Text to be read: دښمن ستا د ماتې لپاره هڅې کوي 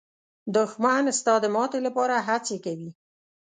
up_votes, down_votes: 2, 0